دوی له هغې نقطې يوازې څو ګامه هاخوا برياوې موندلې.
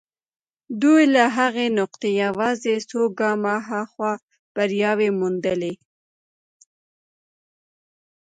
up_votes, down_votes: 0, 2